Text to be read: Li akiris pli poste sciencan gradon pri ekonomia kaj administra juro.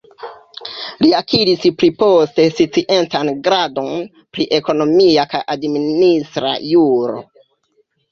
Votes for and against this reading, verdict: 0, 2, rejected